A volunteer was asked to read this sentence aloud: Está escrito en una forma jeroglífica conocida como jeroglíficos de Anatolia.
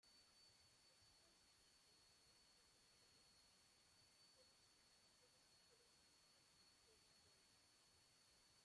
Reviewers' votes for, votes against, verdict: 0, 2, rejected